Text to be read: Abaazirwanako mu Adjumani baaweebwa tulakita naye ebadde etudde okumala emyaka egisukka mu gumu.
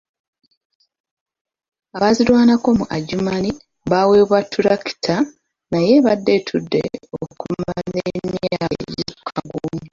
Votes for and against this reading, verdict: 1, 2, rejected